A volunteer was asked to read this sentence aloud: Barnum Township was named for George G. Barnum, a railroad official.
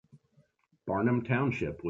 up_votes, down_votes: 0, 2